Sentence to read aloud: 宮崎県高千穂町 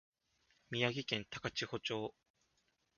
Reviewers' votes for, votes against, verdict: 0, 2, rejected